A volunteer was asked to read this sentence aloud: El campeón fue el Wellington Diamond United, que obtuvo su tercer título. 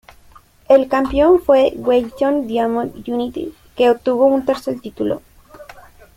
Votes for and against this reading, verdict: 0, 2, rejected